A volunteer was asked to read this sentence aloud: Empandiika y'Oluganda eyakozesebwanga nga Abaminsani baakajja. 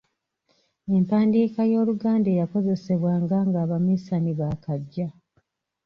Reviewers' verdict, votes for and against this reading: accepted, 2, 0